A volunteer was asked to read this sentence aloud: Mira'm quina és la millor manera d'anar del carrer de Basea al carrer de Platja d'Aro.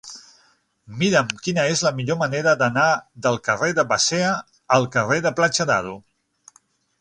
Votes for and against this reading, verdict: 3, 6, rejected